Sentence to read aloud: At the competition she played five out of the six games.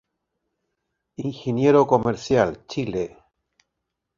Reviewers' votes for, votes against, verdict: 0, 2, rejected